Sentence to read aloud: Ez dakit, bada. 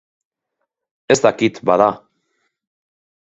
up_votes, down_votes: 2, 0